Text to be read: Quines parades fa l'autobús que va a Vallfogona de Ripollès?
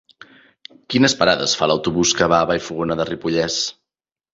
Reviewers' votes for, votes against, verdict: 3, 0, accepted